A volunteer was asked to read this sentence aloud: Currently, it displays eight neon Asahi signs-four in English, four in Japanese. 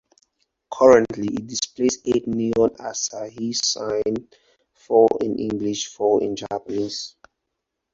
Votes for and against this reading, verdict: 2, 4, rejected